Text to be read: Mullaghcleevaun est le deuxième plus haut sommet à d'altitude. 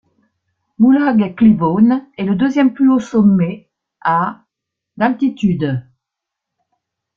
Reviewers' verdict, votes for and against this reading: rejected, 0, 2